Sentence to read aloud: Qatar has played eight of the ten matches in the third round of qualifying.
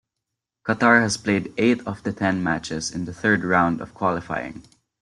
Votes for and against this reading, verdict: 2, 0, accepted